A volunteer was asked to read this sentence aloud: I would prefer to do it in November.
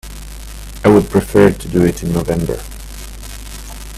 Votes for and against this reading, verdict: 1, 2, rejected